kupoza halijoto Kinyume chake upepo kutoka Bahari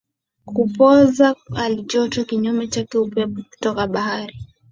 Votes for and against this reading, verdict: 2, 0, accepted